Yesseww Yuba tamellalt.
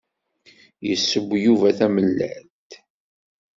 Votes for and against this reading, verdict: 2, 0, accepted